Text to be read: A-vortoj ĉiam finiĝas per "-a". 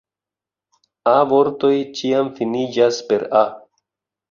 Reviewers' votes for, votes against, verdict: 2, 0, accepted